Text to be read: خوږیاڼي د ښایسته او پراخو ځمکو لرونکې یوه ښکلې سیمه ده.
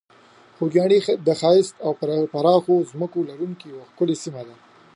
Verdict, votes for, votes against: accepted, 2, 1